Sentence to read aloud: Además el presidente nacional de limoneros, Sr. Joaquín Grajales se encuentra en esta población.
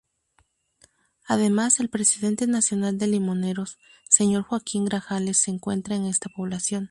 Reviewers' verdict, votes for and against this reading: rejected, 0, 2